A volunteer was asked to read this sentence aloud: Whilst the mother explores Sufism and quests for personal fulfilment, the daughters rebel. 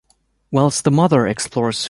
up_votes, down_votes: 1, 2